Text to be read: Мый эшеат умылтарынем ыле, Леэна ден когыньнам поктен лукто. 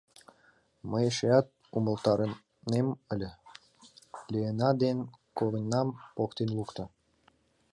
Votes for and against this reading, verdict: 2, 0, accepted